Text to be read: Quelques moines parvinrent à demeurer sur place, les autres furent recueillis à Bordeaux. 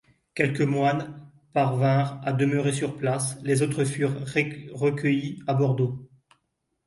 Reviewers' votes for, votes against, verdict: 0, 2, rejected